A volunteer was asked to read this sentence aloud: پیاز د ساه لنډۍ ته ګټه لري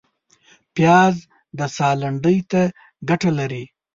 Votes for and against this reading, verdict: 2, 0, accepted